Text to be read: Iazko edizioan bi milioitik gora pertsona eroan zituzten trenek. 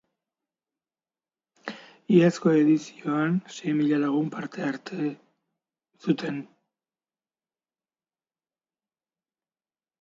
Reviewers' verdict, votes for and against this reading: rejected, 0, 2